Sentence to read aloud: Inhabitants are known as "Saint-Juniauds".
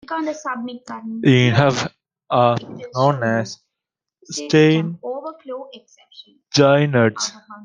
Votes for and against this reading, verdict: 0, 2, rejected